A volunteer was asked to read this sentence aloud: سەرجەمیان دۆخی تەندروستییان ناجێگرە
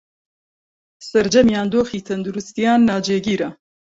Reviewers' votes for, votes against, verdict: 1, 2, rejected